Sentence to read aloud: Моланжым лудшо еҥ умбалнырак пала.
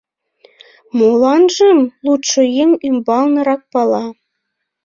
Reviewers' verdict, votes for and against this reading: rejected, 1, 2